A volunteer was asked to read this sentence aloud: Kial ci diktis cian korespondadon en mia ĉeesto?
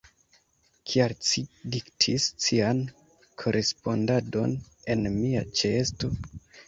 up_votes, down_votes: 1, 2